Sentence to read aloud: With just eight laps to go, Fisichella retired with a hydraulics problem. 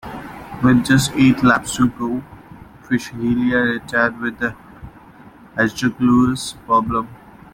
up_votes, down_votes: 0, 2